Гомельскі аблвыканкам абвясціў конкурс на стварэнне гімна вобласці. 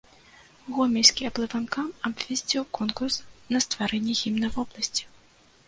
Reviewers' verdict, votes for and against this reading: rejected, 0, 2